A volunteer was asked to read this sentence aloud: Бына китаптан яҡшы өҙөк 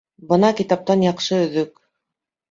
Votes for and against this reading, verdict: 2, 0, accepted